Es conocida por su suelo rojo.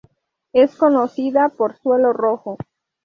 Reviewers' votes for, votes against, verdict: 0, 2, rejected